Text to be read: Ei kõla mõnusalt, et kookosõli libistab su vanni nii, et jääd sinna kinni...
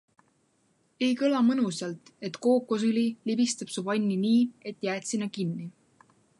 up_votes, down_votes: 2, 0